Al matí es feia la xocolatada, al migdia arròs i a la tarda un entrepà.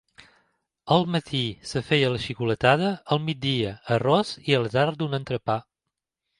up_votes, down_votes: 0, 2